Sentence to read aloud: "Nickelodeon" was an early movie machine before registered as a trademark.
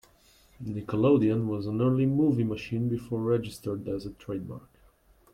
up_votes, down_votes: 2, 0